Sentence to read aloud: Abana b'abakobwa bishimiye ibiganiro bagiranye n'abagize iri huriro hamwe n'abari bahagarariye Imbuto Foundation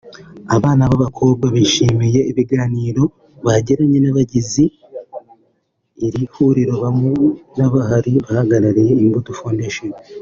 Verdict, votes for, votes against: accepted, 2, 0